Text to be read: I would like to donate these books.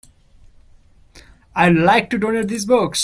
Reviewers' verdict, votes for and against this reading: rejected, 1, 2